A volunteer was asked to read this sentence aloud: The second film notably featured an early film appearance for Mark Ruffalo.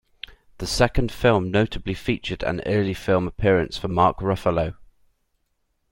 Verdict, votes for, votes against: accepted, 2, 0